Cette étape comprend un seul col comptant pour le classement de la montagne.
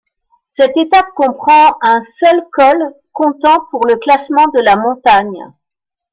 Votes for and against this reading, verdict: 2, 0, accepted